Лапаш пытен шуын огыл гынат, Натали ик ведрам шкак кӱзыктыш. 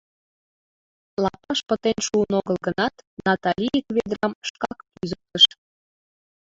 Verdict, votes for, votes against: accepted, 2, 1